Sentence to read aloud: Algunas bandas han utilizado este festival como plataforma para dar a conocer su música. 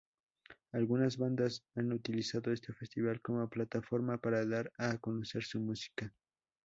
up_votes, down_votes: 2, 0